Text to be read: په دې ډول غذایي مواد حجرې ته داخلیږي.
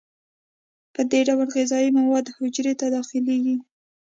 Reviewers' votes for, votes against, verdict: 2, 0, accepted